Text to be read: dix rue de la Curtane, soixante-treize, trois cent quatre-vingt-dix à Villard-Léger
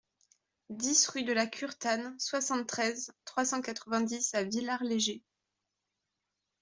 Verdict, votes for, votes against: accepted, 2, 0